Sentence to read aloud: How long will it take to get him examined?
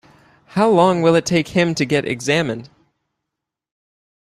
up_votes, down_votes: 1, 2